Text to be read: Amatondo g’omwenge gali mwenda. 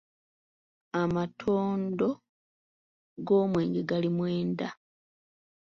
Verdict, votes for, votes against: accepted, 2, 0